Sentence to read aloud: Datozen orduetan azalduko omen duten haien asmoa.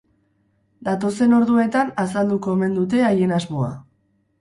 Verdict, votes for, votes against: rejected, 2, 4